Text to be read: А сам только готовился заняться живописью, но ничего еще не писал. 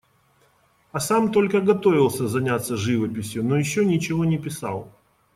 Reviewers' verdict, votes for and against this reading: rejected, 1, 2